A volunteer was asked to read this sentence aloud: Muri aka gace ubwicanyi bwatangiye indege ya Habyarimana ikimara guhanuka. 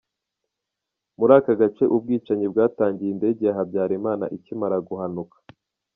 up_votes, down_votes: 3, 0